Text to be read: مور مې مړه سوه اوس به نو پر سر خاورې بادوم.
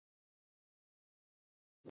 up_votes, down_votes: 1, 2